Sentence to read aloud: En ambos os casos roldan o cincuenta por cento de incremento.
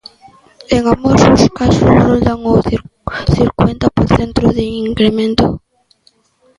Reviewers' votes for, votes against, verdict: 0, 2, rejected